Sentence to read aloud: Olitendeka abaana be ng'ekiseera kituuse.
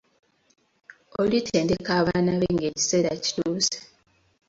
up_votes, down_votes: 2, 0